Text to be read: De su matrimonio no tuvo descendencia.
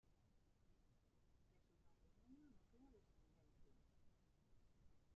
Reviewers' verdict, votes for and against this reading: rejected, 0, 2